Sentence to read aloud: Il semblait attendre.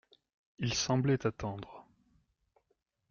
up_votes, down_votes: 2, 0